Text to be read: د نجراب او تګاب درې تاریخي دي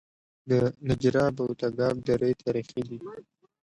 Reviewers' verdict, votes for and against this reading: accepted, 2, 0